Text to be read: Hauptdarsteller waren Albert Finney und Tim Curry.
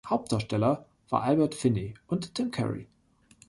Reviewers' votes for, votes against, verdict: 1, 3, rejected